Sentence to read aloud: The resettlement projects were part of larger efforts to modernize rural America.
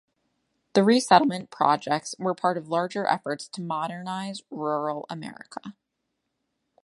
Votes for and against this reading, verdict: 2, 0, accepted